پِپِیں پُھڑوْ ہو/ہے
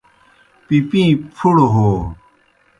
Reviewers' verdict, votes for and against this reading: accepted, 2, 0